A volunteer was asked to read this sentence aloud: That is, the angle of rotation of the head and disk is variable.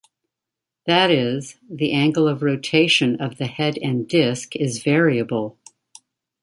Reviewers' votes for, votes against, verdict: 2, 0, accepted